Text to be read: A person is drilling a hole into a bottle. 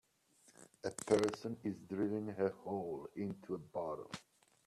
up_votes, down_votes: 4, 3